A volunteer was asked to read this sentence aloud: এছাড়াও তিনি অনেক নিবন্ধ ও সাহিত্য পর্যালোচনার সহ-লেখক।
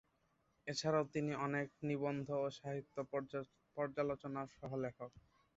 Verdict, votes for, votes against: accepted, 4, 1